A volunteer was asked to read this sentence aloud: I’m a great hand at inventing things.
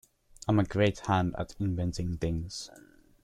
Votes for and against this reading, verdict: 2, 0, accepted